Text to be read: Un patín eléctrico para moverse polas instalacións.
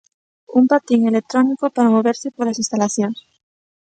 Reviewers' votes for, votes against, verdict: 0, 2, rejected